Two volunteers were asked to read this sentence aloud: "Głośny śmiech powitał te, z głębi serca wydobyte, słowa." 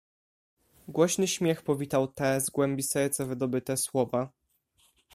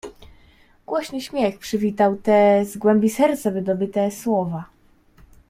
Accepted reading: first